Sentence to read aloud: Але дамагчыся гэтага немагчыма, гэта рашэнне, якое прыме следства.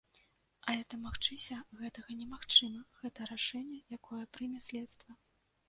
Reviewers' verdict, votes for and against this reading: rejected, 1, 2